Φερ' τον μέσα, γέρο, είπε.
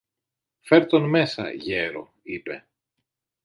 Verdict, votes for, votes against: accepted, 2, 0